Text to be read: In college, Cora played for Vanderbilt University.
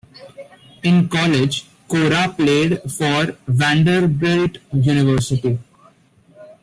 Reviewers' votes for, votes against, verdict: 2, 1, accepted